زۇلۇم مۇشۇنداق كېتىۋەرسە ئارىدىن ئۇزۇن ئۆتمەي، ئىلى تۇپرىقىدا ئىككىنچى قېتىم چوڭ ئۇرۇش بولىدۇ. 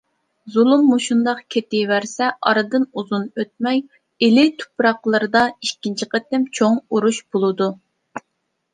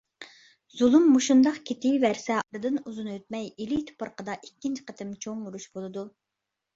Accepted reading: second